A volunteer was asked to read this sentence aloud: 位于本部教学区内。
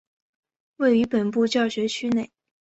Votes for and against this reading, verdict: 2, 1, accepted